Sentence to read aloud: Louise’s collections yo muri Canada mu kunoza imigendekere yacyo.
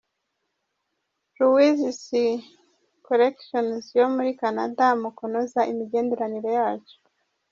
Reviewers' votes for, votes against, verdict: 1, 2, rejected